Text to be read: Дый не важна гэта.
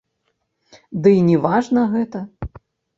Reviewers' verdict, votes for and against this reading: rejected, 1, 2